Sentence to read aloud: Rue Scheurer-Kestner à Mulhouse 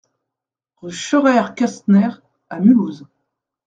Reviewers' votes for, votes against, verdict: 2, 0, accepted